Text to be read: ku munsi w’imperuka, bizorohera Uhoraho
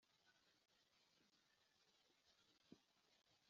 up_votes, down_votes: 0, 2